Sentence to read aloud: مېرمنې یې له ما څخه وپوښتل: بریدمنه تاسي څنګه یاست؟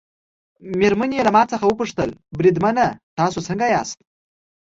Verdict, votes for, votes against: accepted, 2, 0